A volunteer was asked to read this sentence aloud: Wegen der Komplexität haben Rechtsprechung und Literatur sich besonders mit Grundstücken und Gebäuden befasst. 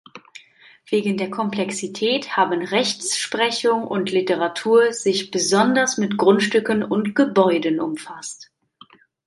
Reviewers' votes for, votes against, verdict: 0, 2, rejected